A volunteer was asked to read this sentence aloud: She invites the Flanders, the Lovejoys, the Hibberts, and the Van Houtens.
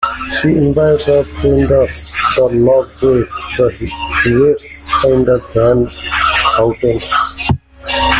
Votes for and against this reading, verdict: 0, 2, rejected